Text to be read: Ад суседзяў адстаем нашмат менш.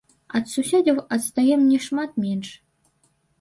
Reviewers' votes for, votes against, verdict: 0, 2, rejected